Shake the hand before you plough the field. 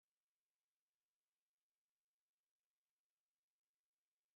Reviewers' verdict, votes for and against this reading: rejected, 0, 2